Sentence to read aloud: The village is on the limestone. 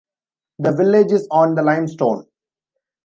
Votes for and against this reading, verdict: 2, 0, accepted